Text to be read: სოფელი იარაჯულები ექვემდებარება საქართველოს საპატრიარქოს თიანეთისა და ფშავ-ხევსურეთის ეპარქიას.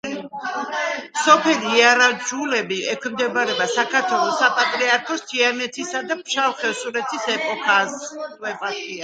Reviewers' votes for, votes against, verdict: 0, 2, rejected